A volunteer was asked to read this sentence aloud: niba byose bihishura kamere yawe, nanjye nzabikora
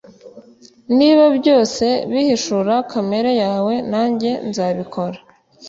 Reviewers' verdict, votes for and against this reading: accepted, 2, 0